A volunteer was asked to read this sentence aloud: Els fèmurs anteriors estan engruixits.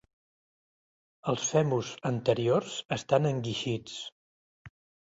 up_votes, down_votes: 1, 2